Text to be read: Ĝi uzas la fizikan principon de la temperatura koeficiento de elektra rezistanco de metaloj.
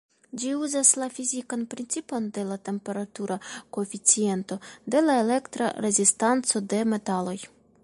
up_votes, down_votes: 2, 1